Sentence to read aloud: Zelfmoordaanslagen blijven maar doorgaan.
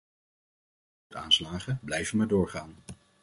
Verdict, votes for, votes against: rejected, 1, 2